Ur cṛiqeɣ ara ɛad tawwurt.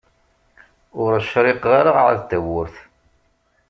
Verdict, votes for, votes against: accepted, 2, 0